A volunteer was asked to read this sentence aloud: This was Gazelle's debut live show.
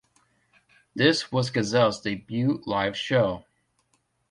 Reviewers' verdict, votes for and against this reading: accepted, 2, 0